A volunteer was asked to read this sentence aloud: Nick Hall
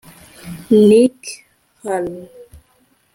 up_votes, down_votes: 0, 2